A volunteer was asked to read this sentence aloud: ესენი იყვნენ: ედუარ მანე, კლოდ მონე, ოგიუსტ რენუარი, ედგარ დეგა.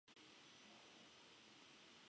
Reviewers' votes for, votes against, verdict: 0, 2, rejected